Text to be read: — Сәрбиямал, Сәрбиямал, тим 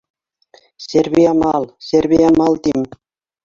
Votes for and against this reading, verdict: 0, 2, rejected